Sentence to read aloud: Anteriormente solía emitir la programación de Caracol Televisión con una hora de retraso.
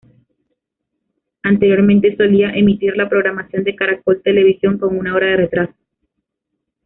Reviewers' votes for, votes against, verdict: 1, 2, rejected